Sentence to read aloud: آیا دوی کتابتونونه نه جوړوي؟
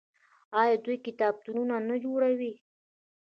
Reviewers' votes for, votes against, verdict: 0, 2, rejected